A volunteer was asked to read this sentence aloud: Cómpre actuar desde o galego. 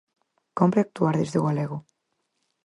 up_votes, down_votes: 6, 0